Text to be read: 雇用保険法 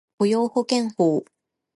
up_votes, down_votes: 0, 2